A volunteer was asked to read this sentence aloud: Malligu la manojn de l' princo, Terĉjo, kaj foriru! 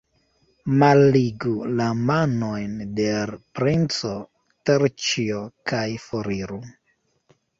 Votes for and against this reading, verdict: 1, 2, rejected